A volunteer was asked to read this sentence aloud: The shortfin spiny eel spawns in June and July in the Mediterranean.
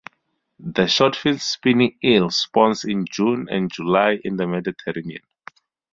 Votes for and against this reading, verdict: 0, 2, rejected